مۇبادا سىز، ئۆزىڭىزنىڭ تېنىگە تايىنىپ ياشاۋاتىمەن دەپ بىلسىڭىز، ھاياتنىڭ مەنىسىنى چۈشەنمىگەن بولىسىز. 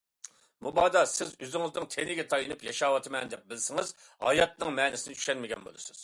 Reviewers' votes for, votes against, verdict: 2, 0, accepted